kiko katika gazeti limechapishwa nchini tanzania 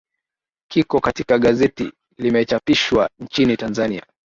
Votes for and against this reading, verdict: 2, 0, accepted